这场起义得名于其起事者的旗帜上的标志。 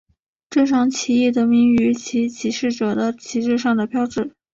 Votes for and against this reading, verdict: 2, 0, accepted